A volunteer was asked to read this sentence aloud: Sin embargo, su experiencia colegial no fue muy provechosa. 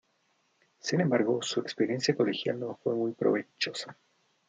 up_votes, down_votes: 0, 2